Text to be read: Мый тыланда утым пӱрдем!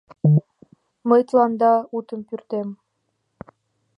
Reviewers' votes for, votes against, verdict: 2, 0, accepted